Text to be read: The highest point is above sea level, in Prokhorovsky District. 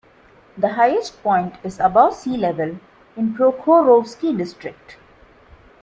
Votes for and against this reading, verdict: 2, 0, accepted